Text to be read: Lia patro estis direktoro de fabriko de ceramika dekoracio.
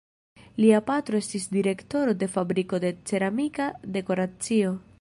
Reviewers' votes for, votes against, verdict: 1, 2, rejected